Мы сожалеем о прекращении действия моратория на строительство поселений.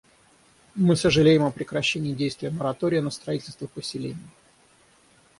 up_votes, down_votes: 3, 3